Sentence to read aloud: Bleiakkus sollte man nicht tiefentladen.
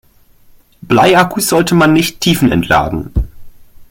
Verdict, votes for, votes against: rejected, 1, 2